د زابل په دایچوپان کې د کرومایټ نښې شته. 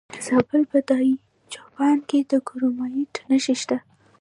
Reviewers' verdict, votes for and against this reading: rejected, 1, 2